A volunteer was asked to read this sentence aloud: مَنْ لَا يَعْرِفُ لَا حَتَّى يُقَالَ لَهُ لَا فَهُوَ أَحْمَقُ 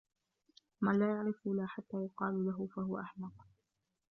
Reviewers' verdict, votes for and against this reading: accepted, 2, 0